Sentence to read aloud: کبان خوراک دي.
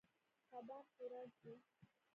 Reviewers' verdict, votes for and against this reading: rejected, 1, 2